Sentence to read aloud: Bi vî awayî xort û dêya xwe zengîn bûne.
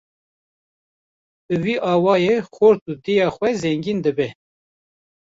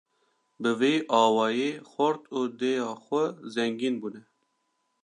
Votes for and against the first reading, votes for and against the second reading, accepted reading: 0, 2, 2, 0, second